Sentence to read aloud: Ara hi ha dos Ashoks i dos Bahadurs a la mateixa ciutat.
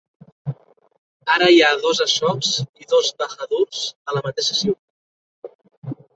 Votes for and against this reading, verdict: 1, 3, rejected